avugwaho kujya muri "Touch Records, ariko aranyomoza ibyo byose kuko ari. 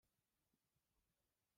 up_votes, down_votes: 0, 2